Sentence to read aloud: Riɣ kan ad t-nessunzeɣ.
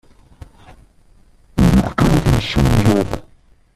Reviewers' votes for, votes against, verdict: 0, 2, rejected